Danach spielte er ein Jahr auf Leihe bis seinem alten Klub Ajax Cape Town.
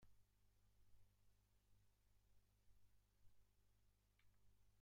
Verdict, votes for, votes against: rejected, 0, 2